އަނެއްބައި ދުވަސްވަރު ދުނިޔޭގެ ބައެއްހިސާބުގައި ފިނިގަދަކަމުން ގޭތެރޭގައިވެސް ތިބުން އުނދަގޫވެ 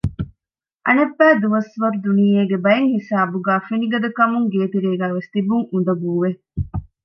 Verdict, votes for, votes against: accepted, 2, 0